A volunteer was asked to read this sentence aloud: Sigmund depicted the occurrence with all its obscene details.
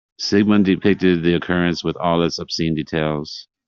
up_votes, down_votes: 1, 2